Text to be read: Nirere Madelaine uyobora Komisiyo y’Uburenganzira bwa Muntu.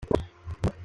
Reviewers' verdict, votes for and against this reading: rejected, 0, 2